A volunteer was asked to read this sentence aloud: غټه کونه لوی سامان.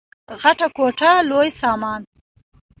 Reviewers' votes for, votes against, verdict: 2, 0, accepted